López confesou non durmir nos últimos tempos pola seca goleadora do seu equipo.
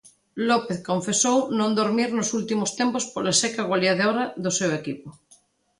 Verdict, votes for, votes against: rejected, 1, 2